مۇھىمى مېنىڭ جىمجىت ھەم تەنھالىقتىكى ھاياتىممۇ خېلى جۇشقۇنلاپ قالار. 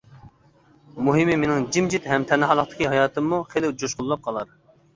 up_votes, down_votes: 2, 0